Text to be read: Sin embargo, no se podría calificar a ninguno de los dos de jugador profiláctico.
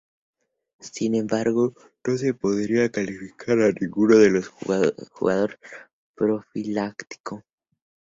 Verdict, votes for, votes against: rejected, 0, 2